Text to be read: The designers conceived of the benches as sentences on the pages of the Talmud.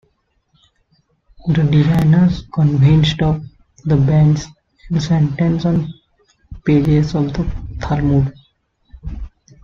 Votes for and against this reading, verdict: 0, 2, rejected